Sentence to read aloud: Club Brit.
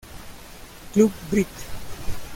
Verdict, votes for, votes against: accepted, 2, 1